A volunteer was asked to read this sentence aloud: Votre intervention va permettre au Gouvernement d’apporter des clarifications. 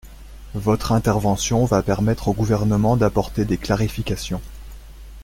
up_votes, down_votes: 2, 0